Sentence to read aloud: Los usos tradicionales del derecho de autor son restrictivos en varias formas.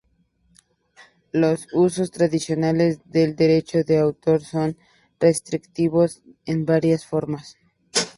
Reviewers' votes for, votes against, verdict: 2, 0, accepted